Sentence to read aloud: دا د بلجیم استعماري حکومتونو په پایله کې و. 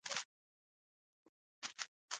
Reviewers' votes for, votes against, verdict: 1, 2, rejected